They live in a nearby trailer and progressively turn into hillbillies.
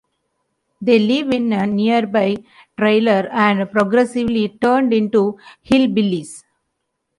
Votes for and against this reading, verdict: 2, 1, accepted